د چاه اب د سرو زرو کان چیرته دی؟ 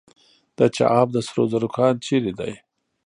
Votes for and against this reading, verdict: 1, 2, rejected